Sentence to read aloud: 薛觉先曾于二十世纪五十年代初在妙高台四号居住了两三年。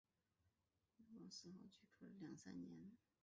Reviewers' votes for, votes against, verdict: 1, 2, rejected